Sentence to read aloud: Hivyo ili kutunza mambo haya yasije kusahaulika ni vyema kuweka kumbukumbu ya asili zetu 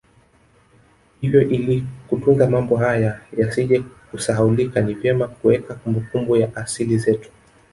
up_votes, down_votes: 1, 2